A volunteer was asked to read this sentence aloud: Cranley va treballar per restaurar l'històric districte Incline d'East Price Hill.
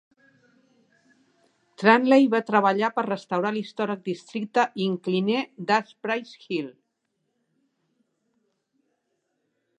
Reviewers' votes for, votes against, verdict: 0, 2, rejected